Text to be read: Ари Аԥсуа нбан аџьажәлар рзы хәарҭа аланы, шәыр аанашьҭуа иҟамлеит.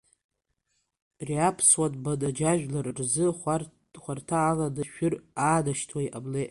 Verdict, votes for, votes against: accepted, 3, 1